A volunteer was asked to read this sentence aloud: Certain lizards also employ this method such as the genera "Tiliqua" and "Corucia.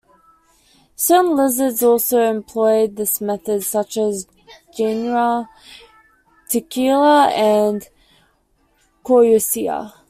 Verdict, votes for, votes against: rejected, 0, 2